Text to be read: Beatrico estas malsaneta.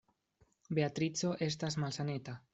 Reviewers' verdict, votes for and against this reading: accepted, 2, 0